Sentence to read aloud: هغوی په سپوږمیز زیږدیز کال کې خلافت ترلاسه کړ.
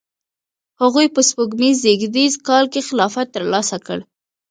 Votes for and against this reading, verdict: 1, 2, rejected